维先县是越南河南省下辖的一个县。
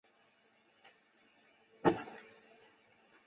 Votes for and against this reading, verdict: 1, 3, rejected